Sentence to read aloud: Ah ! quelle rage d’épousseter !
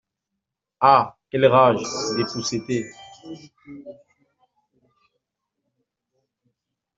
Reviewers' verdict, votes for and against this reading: rejected, 1, 2